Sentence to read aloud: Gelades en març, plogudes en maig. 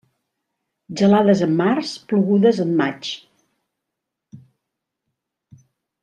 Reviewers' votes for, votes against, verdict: 3, 0, accepted